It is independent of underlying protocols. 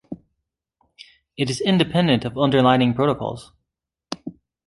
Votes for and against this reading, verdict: 1, 3, rejected